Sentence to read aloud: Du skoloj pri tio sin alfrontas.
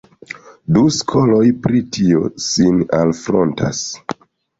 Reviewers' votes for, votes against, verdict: 1, 2, rejected